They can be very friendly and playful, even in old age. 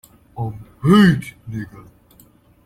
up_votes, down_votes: 0, 2